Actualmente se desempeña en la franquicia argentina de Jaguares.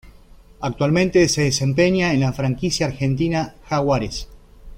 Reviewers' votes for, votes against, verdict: 1, 2, rejected